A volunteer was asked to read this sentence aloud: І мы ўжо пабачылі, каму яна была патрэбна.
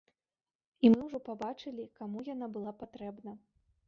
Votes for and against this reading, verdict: 1, 2, rejected